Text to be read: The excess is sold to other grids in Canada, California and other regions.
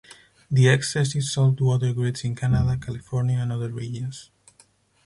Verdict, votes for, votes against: accepted, 4, 0